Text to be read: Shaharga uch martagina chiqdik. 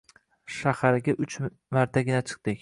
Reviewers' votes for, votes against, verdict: 2, 0, accepted